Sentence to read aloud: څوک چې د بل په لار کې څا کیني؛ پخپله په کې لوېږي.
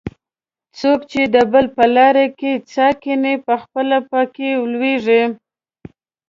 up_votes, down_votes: 2, 0